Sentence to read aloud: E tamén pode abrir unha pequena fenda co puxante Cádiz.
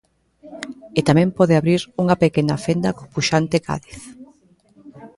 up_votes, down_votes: 0, 2